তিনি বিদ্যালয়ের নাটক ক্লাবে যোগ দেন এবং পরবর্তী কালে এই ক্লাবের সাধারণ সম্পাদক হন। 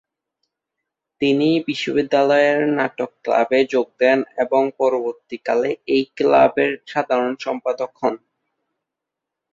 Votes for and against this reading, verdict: 0, 2, rejected